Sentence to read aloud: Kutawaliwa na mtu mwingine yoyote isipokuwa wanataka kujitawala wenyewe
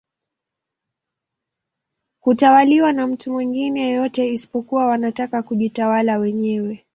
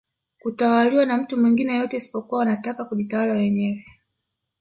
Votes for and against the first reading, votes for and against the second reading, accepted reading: 3, 0, 1, 2, first